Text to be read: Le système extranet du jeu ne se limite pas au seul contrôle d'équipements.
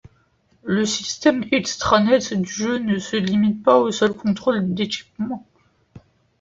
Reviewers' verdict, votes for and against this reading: accepted, 2, 0